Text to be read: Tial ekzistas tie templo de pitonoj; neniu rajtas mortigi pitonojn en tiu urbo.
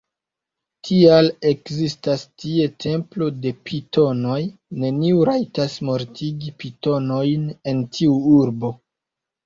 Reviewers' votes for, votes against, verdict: 1, 2, rejected